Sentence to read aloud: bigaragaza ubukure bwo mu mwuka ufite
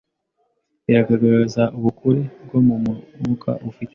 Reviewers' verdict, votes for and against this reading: rejected, 0, 2